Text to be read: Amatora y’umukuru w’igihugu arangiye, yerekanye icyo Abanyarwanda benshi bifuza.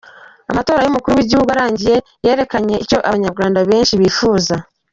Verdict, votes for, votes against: accepted, 2, 1